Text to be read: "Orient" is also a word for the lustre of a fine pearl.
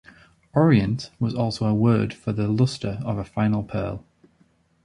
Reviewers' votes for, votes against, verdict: 1, 2, rejected